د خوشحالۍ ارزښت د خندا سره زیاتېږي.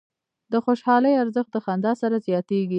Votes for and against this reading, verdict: 0, 2, rejected